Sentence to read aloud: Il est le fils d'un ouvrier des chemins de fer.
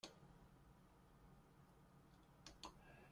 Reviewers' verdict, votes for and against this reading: rejected, 0, 2